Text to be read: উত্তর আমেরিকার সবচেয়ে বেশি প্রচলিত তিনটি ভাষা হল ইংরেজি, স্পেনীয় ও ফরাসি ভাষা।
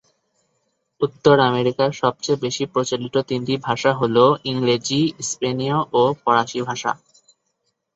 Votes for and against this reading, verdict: 2, 0, accepted